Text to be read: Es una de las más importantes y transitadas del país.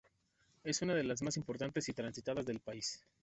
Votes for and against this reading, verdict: 2, 0, accepted